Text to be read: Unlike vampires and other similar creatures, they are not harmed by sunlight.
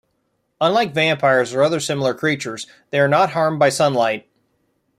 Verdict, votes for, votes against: rejected, 0, 2